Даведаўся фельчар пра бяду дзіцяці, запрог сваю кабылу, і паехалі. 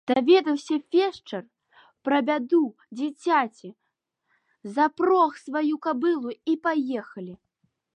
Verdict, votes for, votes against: accepted, 2, 1